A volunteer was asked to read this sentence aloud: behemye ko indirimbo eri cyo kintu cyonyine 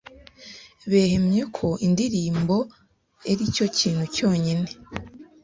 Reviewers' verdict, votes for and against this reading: rejected, 1, 2